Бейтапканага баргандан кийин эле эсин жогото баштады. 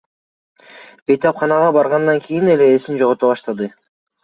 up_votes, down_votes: 2, 0